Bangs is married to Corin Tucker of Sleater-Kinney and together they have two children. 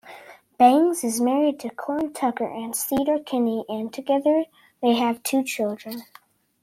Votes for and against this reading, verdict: 0, 2, rejected